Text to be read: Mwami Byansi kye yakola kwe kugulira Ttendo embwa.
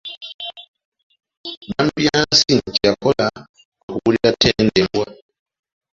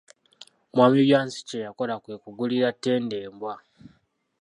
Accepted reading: second